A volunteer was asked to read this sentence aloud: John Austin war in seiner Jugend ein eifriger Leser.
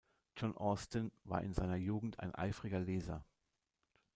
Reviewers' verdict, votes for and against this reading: accepted, 2, 0